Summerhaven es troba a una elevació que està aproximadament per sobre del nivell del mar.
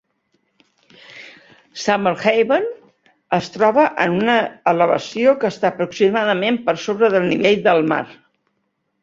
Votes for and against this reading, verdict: 1, 2, rejected